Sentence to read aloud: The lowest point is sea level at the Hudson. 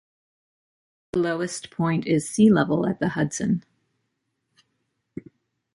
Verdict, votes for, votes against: rejected, 0, 2